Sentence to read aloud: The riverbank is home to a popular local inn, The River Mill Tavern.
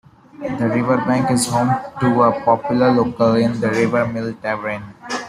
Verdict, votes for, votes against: rejected, 0, 2